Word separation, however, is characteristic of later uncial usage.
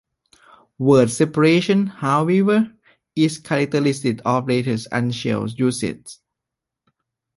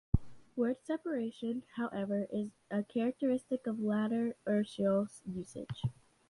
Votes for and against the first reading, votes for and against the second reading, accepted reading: 2, 1, 0, 2, first